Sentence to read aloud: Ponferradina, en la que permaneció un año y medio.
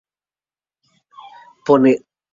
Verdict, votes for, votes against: rejected, 0, 4